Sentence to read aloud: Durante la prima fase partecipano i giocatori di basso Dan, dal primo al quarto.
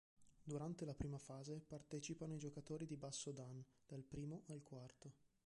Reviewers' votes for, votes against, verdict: 0, 2, rejected